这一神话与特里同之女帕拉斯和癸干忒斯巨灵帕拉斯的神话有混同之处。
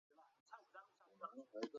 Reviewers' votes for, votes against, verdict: 0, 4, rejected